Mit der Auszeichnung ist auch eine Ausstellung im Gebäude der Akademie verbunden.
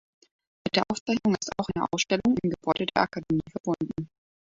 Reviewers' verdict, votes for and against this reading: rejected, 1, 2